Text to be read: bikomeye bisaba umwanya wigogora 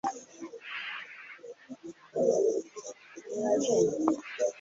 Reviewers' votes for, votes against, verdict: 1, 3, rejected